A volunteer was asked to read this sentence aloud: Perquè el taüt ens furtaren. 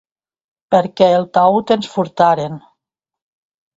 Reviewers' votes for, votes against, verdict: 2, 0, accepted